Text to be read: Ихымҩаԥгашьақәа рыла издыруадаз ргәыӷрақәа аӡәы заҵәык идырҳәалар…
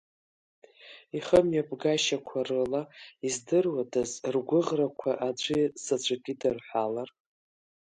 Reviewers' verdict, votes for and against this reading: accepted, 2, 0